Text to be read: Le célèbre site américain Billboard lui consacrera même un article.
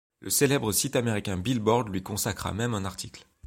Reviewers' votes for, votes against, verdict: 1, 2, rejected